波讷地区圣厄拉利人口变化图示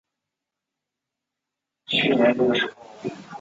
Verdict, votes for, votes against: rejected, 1, 2